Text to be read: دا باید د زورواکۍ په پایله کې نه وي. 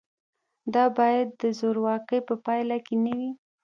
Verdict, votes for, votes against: accepted, 2, 0